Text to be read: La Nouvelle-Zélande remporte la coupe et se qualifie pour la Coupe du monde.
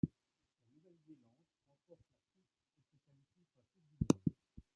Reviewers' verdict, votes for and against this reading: rejected, 1, 2